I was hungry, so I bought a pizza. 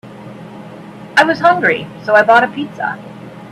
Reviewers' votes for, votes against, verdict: 1, 2, rejected